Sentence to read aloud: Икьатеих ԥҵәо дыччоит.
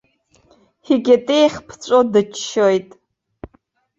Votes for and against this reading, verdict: 2, 0, accepted